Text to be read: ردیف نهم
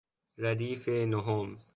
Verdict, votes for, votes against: accepted, 2, 1